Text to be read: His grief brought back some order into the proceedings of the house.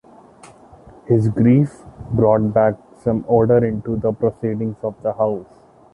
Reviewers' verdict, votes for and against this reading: accepted, 2, 0